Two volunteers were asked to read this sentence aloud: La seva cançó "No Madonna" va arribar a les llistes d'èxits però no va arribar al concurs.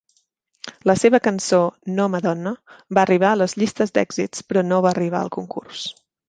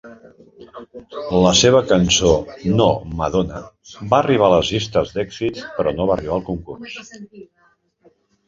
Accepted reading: first